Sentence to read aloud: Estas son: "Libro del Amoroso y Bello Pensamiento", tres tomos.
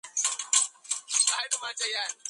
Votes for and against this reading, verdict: 0, 6, rejected